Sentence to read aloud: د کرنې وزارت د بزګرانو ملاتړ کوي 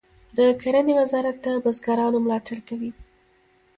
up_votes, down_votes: 1, 2